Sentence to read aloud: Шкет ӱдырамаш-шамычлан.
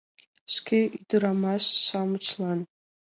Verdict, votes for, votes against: accepted, 2, 0